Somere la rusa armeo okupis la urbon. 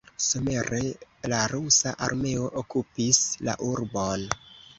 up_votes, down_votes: 1, 2